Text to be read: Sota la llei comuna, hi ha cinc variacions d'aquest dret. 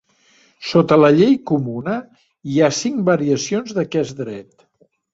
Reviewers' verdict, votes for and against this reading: accepted, 2, 0